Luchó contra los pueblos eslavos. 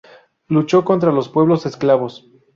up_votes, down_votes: 0, 2